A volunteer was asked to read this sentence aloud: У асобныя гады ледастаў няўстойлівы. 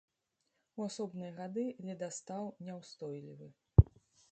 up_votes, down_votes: 1, 2